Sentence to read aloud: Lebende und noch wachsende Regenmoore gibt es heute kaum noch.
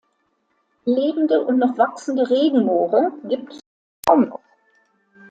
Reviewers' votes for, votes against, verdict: 0, 2, rejected